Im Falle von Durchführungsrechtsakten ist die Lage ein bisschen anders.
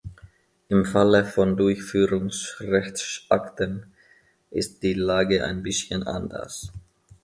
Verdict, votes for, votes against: accepted, 2, 0